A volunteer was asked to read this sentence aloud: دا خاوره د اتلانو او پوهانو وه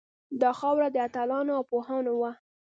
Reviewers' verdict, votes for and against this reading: rejected, 1, 2